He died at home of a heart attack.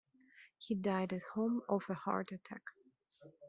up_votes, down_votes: 2, 0